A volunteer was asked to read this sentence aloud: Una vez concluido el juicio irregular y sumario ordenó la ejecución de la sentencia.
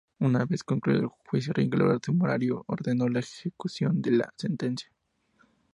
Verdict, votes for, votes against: rejected, 0, 6